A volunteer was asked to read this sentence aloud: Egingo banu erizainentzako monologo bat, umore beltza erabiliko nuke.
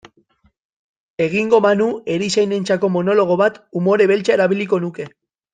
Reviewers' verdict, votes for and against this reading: accepted, 2, 0